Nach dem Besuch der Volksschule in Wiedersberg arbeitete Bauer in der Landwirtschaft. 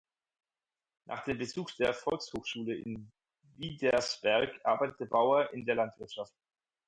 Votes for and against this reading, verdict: 0, 4, rejected